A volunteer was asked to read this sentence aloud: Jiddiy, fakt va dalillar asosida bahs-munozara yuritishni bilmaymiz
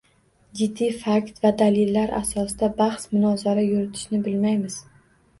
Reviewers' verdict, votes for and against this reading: accepted, 2, 0